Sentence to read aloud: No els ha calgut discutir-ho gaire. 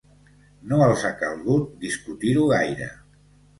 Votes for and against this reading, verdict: 2, 0, accepted